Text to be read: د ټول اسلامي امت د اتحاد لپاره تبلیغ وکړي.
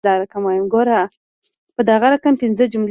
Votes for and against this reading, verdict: 1, 2, rejected